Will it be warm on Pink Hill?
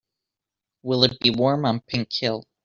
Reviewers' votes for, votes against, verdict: 3, 0, accepted